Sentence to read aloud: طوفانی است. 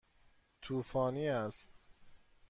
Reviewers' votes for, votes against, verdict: 2, 0, accepted